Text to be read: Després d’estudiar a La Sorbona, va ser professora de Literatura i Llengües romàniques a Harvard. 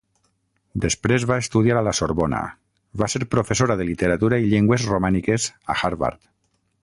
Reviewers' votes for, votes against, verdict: 0, 6, rejected